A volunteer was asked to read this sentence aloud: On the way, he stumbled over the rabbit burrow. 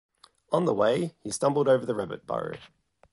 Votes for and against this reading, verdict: 2, 0, accepted